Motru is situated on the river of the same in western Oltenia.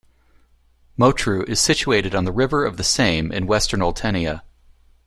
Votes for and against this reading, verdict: 2, 0, accepted